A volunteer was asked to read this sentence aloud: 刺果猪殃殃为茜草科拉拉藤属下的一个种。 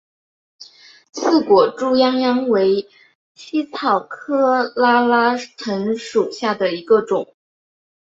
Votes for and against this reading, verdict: 1, 2, rejected